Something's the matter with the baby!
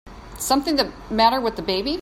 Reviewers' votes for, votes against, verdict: 1, 2, rejected